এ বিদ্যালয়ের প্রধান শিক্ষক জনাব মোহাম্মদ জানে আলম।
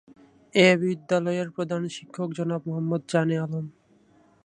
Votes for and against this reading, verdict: 2, 2, rejected